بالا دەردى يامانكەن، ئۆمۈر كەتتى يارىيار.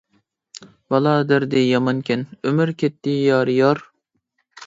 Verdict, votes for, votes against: accepted, 2, 0